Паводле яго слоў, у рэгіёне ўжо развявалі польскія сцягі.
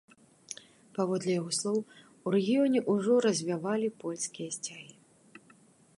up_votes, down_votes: 3, 0